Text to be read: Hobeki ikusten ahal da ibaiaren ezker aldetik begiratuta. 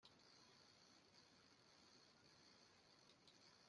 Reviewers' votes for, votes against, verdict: 0, 2, rejected